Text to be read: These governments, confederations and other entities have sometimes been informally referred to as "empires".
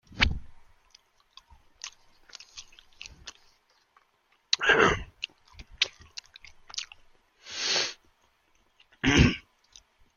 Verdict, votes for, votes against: rejected, 0, 2